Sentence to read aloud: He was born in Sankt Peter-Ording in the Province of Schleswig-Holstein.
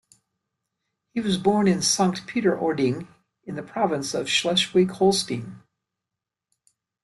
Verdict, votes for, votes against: rejected, 1, 2